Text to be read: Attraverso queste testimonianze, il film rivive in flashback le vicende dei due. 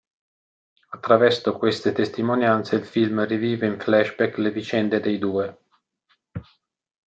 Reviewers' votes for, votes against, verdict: 2, 1, accepted